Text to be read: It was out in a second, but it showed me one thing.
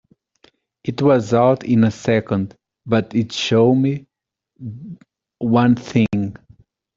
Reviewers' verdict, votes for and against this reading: accepted, 2, 0